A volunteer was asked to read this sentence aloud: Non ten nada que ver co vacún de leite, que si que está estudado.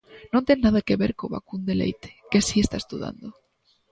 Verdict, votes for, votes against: rejected, 0, 2